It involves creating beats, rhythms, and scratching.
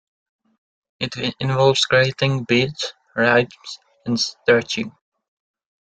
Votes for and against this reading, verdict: 0, 2, rejected